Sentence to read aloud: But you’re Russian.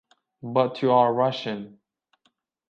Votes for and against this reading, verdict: 3, 0, accepted